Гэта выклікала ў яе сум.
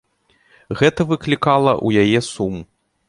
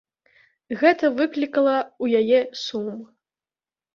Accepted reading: first